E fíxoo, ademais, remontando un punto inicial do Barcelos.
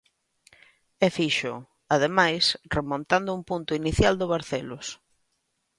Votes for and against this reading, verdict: 2, 0, accepted